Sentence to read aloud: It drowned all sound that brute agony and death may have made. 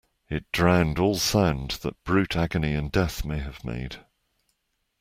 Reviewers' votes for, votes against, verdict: 2, 0, accepted